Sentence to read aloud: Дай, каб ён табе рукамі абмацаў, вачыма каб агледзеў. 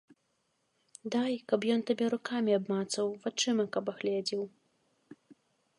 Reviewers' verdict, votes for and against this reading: accepted, 2, 0